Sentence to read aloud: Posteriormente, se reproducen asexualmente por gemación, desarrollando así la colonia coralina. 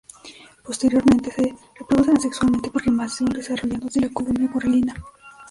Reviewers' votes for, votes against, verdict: 1, 2, rejected